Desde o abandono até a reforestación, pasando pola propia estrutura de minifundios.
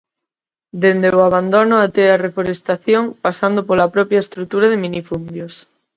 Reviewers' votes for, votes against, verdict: 2, 4, rejected